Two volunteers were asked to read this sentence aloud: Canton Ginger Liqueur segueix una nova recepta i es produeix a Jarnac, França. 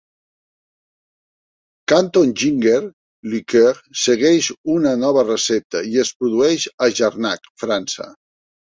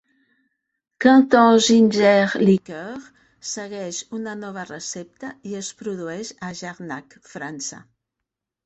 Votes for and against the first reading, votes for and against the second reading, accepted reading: 1, 2, 2, 0, second